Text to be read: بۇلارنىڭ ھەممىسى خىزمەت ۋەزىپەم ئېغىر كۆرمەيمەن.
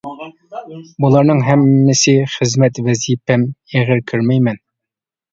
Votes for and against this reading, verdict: 0, 2, rejected